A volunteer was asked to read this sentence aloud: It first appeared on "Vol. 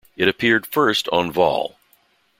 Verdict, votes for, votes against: rejected, 0, 2